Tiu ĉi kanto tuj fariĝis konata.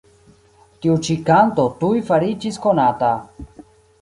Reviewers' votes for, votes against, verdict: 2, 1, accepted